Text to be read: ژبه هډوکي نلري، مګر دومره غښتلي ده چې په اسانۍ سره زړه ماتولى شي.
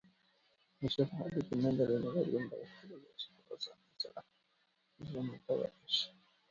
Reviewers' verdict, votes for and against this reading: rejected, 1, 2